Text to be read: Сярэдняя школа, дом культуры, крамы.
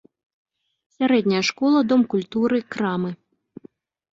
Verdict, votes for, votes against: accepted, 2, 0